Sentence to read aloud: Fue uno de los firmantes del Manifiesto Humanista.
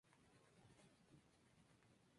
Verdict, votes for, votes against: rejected, 0, 4